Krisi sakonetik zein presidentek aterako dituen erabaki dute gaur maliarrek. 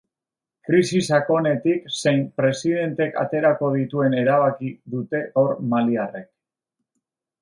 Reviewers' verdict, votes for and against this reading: rejected, 1, 2